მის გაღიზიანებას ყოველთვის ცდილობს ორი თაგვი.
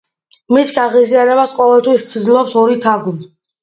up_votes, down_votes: 2, 0